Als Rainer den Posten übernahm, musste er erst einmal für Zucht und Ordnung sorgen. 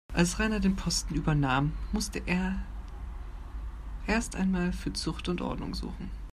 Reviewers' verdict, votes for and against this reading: rejected, 0, 2